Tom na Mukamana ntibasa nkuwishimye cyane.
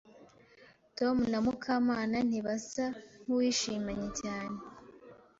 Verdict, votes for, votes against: rejected, 1, 2